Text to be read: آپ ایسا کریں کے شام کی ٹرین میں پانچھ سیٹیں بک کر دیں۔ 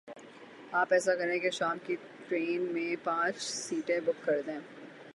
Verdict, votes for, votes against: accepted, 6, 0